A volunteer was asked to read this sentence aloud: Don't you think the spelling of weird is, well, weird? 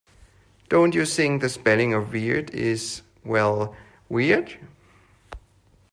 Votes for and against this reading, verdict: 2, 0, accepted